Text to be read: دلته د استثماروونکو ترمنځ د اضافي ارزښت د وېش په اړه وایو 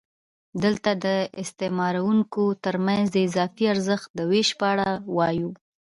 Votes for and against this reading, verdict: 1, 2, rejected